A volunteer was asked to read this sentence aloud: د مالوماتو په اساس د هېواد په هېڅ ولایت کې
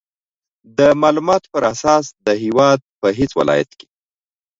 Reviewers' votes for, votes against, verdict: 2, 0, accepted